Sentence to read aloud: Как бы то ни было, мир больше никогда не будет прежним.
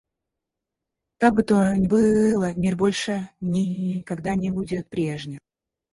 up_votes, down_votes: 0, 4